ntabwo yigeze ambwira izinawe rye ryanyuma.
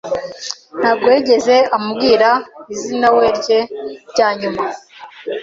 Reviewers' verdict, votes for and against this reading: accepted, 2, 0